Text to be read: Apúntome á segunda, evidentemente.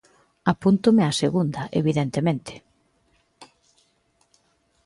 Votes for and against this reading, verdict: 2, 0, accepted